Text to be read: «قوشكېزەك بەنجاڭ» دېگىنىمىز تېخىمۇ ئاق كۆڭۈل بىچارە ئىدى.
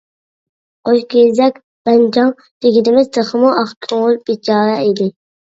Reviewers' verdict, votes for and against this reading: accepted, 2, 1